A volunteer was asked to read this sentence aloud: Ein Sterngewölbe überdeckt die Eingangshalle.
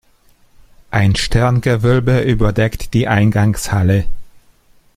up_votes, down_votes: 1, 2